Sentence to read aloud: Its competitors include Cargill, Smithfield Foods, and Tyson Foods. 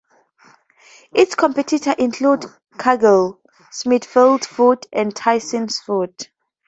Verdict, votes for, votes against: rejected, 0, 2